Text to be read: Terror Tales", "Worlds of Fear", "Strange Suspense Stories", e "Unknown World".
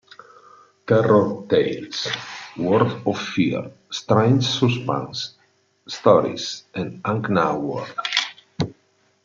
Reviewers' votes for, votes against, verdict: 0, 2, rejected